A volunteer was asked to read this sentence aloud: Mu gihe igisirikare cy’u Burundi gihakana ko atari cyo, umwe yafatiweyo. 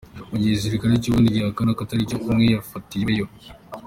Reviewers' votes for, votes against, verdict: 2, 1, accepted